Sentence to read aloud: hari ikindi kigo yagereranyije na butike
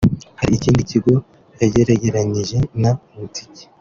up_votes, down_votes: 2, 3